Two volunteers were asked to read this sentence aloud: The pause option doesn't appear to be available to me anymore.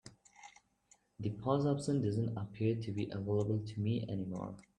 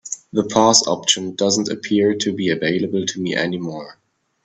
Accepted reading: second